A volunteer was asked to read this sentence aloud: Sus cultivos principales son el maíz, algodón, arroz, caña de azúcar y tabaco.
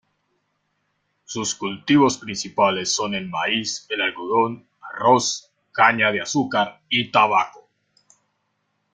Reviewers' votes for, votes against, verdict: 1, 2, rejected